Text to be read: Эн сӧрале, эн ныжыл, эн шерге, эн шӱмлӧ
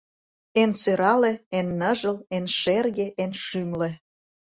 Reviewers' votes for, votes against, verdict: 2, 0, accepted